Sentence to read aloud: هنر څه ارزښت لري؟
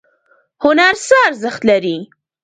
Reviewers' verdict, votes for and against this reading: accepted, 2, 1